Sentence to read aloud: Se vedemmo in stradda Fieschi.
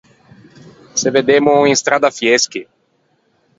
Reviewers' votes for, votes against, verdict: 0, 4, rejected